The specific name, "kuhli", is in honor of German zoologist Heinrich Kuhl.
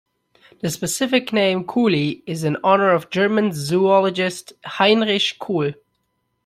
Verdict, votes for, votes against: accepted, 2, 0